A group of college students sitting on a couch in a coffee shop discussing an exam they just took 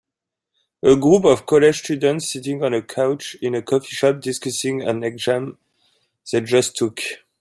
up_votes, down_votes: 2, 1